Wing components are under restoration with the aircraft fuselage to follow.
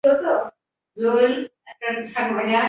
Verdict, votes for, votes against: rejected, 0, 2